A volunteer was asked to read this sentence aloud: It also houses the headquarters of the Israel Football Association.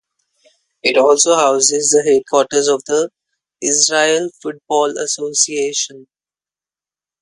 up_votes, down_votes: 2, 0